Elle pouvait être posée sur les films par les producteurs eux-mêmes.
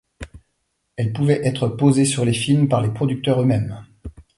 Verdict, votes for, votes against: accepted, 2, 0